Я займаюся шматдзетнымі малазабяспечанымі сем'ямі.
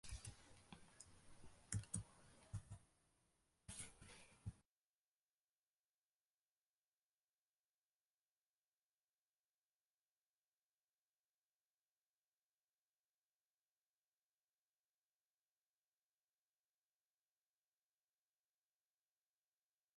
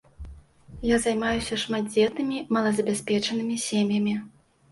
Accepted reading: second